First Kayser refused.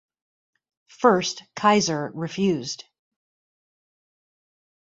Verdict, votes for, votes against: accepted, 2, 0